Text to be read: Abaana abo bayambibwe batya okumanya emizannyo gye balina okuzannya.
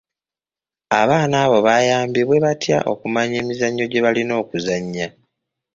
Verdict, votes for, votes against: accepted, 2, 0